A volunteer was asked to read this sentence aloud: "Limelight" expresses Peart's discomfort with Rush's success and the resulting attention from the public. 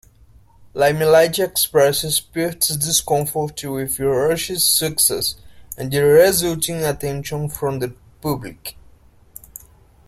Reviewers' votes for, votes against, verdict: 0, 2, rejected